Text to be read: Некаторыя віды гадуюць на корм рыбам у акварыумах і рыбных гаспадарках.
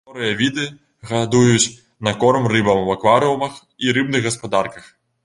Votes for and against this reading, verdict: 0, 2, rejected